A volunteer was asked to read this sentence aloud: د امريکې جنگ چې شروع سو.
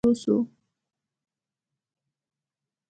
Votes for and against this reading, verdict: 0, 2, rejected